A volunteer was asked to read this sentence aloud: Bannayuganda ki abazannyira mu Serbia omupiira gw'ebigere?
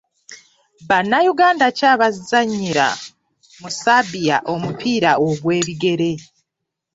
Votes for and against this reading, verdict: 1, 2, rejected